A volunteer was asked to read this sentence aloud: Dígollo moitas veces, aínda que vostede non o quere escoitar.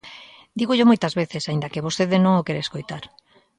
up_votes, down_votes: 2, 0